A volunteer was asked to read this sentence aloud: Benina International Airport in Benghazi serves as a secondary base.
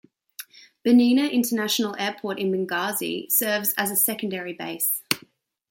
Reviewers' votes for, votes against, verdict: 2, 1, accepted